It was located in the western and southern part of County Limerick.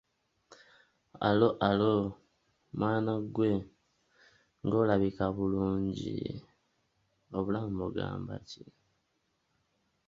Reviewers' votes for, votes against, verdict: 0, 2, rejected